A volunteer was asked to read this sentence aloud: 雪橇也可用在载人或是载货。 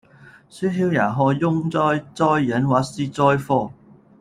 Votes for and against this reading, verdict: 0, 2, rejected